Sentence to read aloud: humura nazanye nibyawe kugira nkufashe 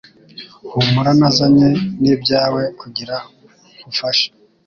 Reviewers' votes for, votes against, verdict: 2, 0, accepted